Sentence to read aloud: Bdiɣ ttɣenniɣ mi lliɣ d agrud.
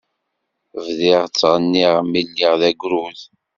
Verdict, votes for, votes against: accepted, 2, 0